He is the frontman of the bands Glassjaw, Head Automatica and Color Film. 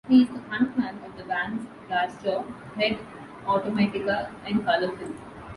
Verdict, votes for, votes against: rejected, 0, 2